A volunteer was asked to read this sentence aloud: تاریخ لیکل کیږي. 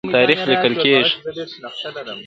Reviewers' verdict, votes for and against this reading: rejected, 1, 2